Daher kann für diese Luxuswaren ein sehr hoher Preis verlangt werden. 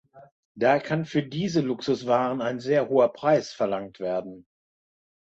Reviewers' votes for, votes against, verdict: 1, 2, rejected